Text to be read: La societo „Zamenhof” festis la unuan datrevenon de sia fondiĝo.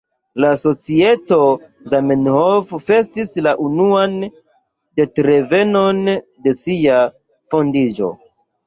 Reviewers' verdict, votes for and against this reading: rejected, 1, 2